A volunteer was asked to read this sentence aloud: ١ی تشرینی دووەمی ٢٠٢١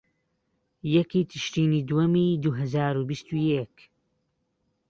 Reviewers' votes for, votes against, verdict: 0, 2, rejected